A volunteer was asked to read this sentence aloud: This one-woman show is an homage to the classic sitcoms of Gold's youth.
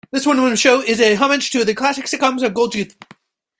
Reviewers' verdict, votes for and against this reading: rejected, 1, 2